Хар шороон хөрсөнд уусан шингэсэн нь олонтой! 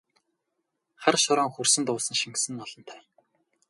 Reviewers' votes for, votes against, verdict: 2, 2, rejected